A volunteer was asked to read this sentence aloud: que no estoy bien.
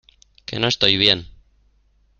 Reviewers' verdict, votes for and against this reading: accepted, 2, 1